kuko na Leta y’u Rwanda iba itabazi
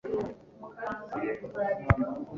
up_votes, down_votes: 0, 2